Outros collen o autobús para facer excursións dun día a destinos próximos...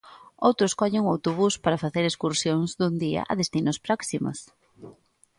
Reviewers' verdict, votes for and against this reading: accepted, 2, 0